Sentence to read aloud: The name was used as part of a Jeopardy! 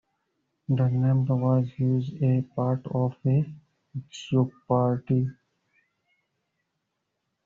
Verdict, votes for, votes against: rejected, 0, 2